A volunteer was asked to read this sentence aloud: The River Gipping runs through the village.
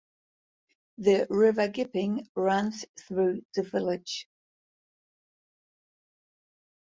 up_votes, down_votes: 4, 0